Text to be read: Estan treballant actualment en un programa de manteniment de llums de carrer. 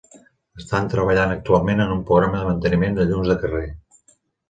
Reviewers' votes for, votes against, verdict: 4, 0, accepted